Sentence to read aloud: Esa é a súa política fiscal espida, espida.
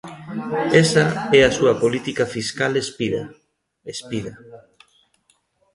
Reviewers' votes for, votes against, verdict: 2, 0, accepted